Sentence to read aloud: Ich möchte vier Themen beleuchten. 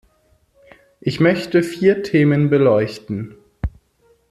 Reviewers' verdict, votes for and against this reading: accepted, 2, 1